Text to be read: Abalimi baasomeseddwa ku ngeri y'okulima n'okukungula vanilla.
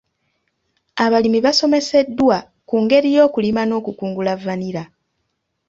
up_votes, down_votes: 2, 0